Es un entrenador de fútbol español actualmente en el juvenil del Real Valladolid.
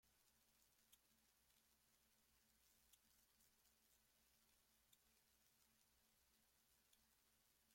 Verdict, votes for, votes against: rejected, 0, 2